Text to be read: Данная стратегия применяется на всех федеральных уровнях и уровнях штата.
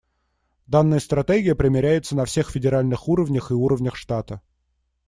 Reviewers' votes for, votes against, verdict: 1, 2, rejected